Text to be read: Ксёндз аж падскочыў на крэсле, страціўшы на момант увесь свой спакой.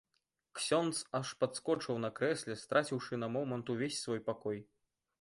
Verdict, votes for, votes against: rejected, 1, 2